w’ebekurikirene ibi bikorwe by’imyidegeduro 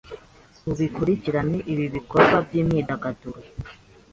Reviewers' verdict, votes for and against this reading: rejected, 2, 3